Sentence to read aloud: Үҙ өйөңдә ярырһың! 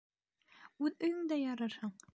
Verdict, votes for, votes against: accepted, 2, 0